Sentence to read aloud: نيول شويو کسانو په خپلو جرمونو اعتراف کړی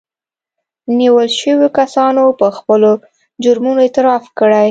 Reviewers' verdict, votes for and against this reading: accepted, 2, 0